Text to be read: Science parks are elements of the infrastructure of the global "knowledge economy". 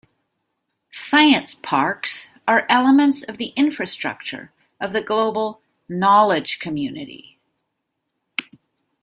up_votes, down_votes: 0, 2